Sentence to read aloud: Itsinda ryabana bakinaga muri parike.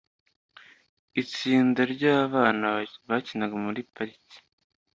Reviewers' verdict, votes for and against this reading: rejected, 1, 2